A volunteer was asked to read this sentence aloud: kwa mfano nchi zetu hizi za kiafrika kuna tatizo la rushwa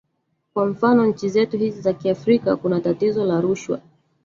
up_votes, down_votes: 1, 2